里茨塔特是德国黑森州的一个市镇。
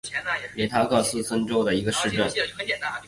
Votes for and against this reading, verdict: 0, 2, rejected